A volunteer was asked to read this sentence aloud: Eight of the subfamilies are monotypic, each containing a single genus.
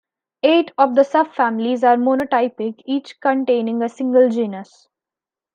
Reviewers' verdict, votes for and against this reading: rejected, 1, 2